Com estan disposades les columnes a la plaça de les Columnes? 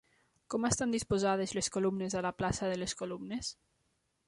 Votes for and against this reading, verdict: 3, 0, accepted